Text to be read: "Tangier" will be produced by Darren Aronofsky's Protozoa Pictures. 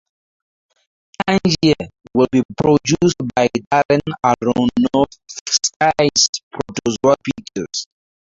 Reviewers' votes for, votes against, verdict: 2, 2, rejected